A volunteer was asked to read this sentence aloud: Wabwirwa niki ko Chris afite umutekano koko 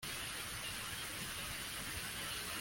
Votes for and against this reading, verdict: 0, 2, rejected